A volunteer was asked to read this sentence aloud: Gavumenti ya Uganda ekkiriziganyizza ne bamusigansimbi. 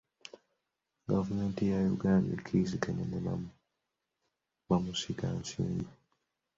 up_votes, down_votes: 0, 2